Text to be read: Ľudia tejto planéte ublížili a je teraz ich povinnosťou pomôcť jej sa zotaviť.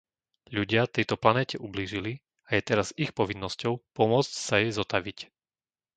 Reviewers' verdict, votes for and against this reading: rejected, 0, 2